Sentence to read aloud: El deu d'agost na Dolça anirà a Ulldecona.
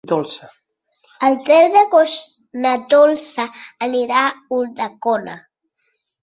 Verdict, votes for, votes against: rejected, 0, 6